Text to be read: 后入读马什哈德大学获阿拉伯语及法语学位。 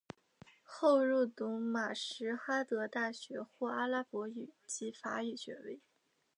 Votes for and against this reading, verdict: 2, 0, accepted